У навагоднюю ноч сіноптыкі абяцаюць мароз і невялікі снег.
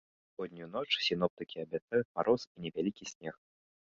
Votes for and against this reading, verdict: 0, 2, rejected